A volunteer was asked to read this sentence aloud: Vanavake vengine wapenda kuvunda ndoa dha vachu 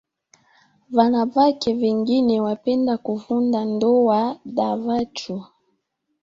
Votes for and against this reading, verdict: 2, 0, accepted